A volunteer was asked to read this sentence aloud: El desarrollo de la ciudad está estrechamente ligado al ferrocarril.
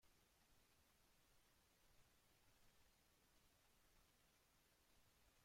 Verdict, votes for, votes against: rejected, 0, 2